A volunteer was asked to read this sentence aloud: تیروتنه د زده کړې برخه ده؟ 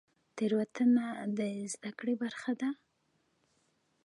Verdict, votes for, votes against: accepted, 2, 1